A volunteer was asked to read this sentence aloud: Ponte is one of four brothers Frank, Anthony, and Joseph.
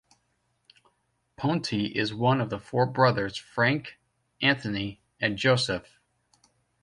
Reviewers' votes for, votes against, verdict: 1, 2, rejected